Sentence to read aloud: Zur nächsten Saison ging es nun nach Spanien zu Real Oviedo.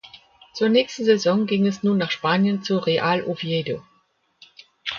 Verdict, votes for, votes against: accepted, 2, 0